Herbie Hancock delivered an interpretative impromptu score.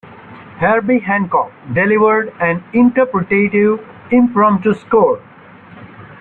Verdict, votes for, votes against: accepted, 2, 0